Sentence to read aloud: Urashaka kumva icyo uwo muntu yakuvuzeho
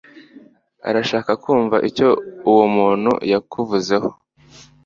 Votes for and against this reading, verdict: 2, 0, accepted